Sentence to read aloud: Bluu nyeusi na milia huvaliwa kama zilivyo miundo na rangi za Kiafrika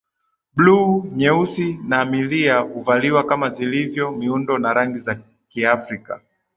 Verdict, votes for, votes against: accepted, 2, 0